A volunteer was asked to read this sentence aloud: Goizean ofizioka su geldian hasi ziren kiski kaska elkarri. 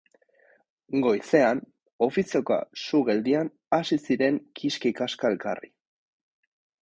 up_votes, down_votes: 4, 0